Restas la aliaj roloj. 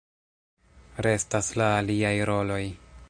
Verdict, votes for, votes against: rejected, 0, 2